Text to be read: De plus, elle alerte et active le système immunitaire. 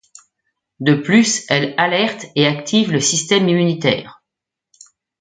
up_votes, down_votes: 1, 2